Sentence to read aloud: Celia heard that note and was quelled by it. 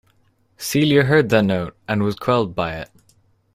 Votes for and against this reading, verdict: 2, 0, accepted